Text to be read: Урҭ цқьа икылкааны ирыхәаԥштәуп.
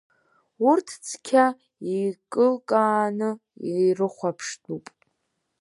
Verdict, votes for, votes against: rejected, 1, 3